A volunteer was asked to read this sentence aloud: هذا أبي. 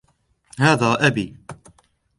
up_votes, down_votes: 2, 0